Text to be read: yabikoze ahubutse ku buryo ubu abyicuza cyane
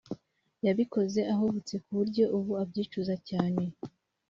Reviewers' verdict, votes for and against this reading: accepted, 2, 0